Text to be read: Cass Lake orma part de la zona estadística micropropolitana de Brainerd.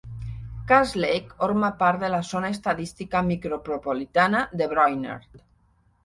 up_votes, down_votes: 2, 0